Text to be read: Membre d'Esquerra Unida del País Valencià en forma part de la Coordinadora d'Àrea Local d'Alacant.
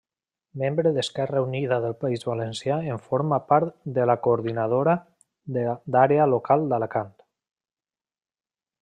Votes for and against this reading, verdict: 2, 3, rejected